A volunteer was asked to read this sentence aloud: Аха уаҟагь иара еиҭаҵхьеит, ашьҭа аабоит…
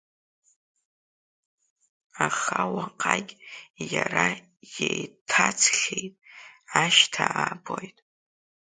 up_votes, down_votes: 0, 2